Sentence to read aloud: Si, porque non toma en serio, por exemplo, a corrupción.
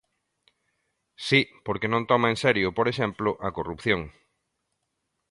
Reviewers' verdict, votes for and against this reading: accepted, 2, 0